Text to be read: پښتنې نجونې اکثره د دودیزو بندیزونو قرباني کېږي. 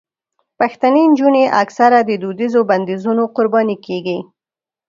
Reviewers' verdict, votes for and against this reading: accepted, 3, 0